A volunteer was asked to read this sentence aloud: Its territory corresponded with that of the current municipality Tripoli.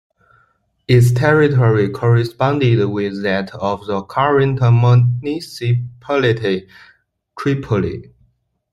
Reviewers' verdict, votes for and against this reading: accepted, 3, 1